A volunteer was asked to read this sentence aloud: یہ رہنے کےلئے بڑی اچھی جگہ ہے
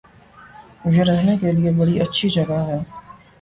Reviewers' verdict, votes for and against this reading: accepted, 2, 0